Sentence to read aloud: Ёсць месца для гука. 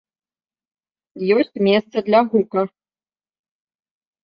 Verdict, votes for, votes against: accepted, 2, 1